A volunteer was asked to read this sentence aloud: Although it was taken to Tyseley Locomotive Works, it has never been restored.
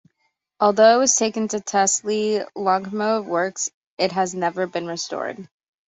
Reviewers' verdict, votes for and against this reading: rejected, 0, 2